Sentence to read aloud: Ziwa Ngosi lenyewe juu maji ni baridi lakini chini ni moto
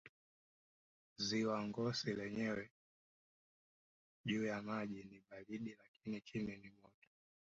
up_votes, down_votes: 0, 3